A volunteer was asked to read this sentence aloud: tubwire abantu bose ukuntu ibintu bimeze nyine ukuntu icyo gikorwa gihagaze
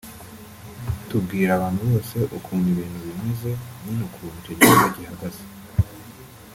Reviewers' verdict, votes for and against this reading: rejected, 1, 2